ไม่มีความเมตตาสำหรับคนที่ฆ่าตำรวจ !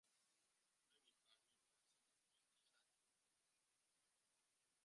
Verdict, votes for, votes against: rejected, 0, 2